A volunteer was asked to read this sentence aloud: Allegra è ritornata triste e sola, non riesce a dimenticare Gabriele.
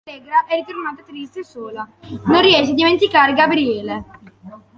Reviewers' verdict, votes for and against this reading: rejected, 0, 2